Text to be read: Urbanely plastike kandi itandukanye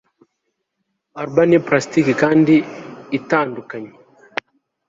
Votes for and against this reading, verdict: 2, 0, accepted